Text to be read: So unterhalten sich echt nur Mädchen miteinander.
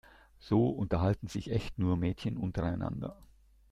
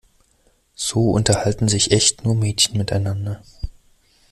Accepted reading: second